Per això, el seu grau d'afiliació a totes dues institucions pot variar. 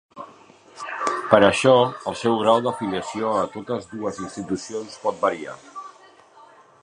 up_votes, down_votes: 3, 1